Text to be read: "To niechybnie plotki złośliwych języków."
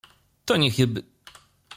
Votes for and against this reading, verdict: 0, 2, rejected